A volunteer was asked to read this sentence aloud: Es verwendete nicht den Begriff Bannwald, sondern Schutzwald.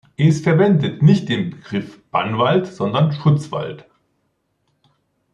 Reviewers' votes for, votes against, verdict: 2, 3, rejected